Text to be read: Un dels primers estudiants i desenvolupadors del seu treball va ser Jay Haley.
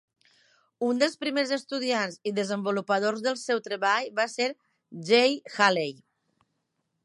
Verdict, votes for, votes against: accepted, 2, 0